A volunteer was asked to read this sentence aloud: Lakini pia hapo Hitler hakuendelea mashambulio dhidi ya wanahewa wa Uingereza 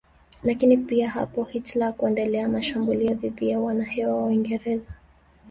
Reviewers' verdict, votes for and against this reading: accepted, 3, 0